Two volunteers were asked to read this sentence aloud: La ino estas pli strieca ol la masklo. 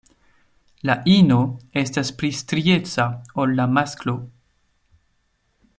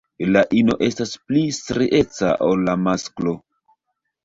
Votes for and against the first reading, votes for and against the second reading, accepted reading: 2, 0, 0, 2, first